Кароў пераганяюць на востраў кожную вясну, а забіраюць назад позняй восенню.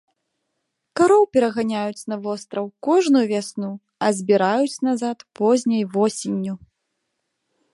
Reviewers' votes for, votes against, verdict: 1, 2, rejected